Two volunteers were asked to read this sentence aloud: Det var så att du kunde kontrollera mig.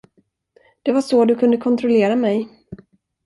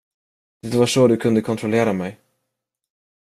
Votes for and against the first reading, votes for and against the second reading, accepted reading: 0, 2, 2, 0, second